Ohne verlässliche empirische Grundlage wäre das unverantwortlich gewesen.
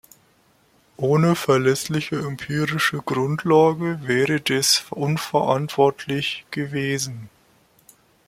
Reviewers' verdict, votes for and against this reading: rejected, 0, 2